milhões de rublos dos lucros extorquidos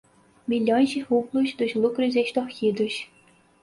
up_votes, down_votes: 4, 0